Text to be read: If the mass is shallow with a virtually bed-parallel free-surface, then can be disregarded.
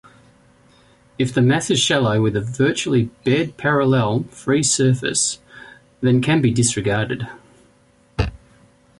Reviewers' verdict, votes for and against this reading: accepted, 2, 0